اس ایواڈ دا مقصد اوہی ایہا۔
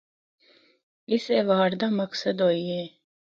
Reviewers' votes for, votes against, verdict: 2, 0, accepted